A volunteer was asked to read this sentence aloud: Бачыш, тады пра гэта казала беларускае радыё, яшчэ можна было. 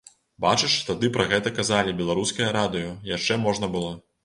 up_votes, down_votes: 0, 2